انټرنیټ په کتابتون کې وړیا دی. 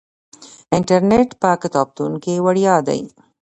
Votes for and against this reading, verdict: 2, 1, accepted